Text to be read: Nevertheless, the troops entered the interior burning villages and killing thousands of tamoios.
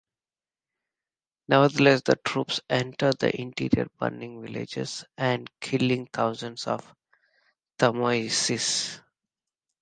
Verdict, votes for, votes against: rejected, 1, 2